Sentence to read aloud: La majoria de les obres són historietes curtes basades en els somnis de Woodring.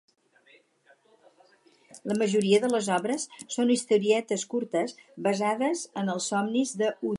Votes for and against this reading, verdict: 0, 4, rejected